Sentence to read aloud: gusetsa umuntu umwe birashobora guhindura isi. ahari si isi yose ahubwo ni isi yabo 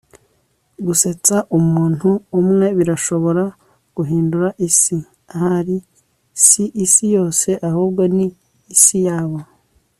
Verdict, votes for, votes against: accepted, 2, 0